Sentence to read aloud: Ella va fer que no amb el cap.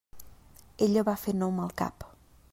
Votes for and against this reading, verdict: 2, 1, accepted